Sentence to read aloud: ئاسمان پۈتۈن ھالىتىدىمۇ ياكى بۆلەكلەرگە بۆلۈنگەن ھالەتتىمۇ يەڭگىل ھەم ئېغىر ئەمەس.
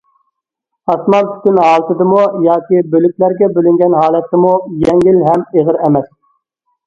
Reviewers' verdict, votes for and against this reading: rejected, 0, 2